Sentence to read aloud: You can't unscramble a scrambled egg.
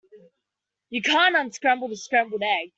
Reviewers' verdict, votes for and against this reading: accepted, 2, 0